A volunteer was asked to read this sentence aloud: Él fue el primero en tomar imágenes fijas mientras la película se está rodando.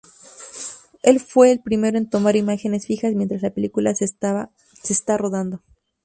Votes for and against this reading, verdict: 0, 2, rejected